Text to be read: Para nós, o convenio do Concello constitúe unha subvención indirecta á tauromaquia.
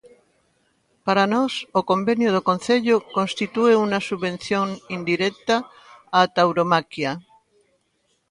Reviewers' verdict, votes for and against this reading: rejected, 1, 2